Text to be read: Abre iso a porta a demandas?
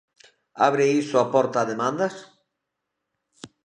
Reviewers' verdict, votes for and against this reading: accepted, 2, 1